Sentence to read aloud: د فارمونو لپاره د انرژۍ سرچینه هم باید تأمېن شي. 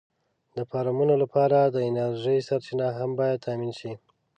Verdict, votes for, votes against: accepted, 2, 0